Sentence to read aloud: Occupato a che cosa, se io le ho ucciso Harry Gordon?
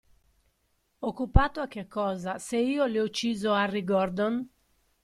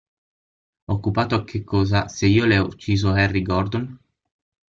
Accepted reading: first